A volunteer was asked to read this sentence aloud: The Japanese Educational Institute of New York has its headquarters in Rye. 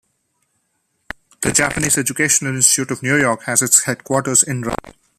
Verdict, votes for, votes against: accepted, 2, 0